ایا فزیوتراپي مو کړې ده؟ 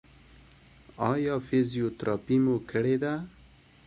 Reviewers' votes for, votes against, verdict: 2, 0, accepted